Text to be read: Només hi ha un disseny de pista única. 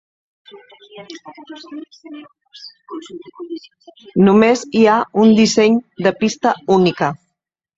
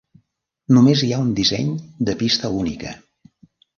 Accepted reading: second